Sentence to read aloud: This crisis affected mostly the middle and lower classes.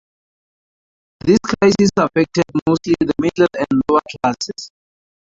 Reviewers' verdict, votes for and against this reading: rejected, 0, 2